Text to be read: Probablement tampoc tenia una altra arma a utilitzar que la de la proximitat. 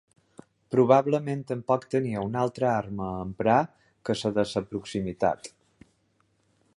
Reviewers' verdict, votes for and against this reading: rejected, 0, 2